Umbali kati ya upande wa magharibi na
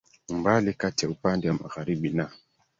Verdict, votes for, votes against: accepted, 2, 0